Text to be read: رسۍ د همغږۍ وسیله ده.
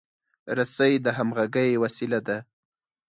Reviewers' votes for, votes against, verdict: 4, 0, accepted